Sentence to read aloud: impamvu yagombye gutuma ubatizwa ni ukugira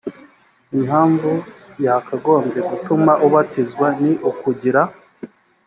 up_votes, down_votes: 1, 2